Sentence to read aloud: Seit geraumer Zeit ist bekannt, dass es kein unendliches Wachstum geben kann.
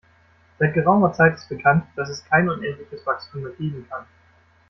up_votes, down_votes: 0, 2